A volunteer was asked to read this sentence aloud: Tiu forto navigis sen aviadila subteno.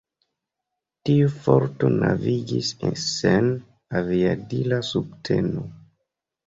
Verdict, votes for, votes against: rejected, 0, 2